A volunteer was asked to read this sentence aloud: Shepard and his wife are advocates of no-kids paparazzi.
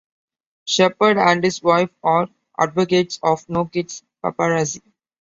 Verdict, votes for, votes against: accepted, 2, 0